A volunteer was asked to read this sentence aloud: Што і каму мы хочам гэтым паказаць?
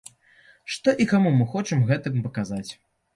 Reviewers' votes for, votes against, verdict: 2, 0, accepted